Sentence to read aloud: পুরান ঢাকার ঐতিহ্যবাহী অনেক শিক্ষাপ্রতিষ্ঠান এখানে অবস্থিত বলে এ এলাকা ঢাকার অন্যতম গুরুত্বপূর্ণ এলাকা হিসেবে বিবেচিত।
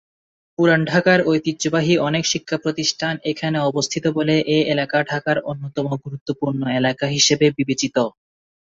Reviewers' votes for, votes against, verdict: 2, 0, accepted